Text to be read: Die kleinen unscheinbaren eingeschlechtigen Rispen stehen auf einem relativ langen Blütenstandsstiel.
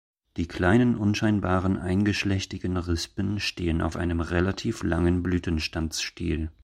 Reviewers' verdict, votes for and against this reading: accepted, 2, 0